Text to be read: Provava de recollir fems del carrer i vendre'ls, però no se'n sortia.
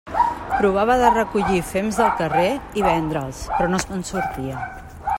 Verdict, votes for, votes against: accepted, 2, 0